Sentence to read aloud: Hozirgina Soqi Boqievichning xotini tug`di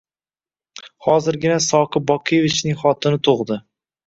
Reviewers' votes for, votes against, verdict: 1, 2, rejected